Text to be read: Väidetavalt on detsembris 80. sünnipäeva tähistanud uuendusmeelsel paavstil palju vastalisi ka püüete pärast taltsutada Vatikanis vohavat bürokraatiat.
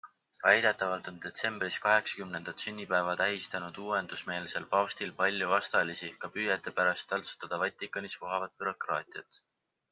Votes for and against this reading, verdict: 0, 2, rejected